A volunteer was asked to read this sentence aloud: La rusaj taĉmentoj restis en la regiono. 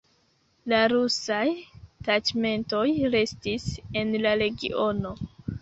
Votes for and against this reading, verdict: 0, 2, rejected